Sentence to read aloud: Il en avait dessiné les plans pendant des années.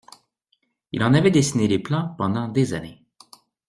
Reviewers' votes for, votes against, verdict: 2, 0, accepted